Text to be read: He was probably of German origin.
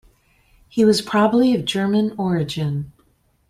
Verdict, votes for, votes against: accepted, 2, 0